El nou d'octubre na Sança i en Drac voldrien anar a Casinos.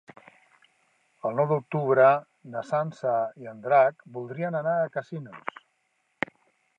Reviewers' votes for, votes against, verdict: 0, 2, rejected